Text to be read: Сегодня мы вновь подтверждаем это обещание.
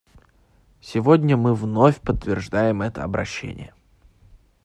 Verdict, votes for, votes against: rejected, 0, 2